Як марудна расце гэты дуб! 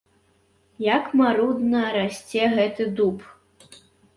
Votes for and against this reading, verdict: 2, 0, accepted